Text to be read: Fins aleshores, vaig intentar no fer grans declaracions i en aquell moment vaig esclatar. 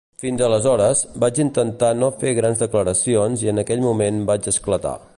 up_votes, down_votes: 2, 0